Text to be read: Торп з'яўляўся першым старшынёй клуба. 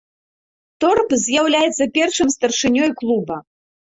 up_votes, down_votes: 1, 2